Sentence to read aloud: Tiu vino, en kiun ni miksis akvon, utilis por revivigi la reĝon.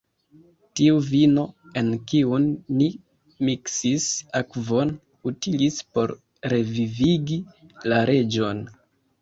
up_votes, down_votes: 2, 0